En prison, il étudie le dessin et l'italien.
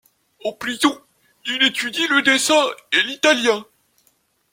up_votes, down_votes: 1, 2